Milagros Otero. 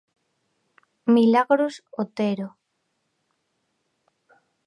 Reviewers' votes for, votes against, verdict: 1, 2, rejected